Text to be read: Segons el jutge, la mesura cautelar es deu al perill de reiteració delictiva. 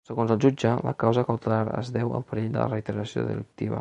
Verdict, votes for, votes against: rejected, 0, 2